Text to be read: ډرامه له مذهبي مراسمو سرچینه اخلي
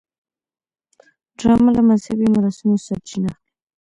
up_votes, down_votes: 2, 0